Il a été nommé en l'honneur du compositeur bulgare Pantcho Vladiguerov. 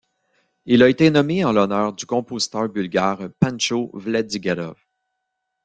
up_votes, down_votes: 1, 2